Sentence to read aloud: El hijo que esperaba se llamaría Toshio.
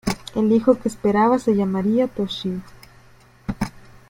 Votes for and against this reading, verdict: 2, 1, accepted